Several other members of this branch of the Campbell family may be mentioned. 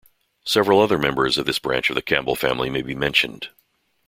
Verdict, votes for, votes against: accepted, 2, 0